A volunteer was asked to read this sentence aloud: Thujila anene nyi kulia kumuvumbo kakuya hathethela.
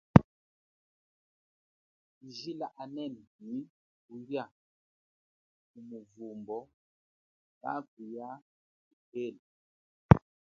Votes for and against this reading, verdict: 0, 2, rejected